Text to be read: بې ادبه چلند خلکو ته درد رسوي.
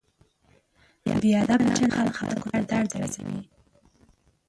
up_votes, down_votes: 0, 2